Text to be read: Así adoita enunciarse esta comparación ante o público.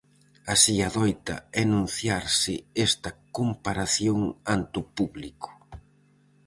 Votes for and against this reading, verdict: 4, 0, accepted